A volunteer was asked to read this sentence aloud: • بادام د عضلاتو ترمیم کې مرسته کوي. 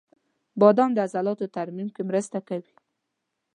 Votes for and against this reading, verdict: 1, 2, rejected